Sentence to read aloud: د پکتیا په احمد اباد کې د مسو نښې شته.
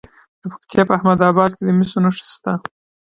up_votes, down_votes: 0, 2